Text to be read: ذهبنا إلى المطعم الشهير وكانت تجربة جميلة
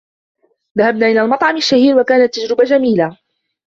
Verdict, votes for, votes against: accepted, 2, 0